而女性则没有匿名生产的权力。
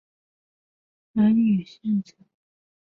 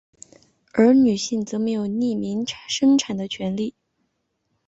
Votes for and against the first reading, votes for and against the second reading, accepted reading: 0, 2, 4, 1, second